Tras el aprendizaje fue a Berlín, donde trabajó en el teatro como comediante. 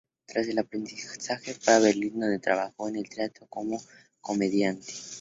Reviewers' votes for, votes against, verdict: 0, 4, rejected